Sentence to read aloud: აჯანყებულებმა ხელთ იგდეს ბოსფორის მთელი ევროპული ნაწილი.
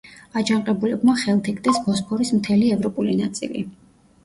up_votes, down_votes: 1, 2